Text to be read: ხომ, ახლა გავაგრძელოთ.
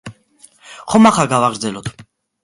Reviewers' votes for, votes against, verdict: 2, 1, accepted